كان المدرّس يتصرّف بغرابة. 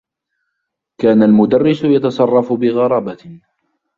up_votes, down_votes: 1, 2